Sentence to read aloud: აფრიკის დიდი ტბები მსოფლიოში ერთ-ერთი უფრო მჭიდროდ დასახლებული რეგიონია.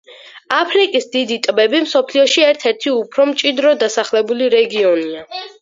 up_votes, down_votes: 4, 0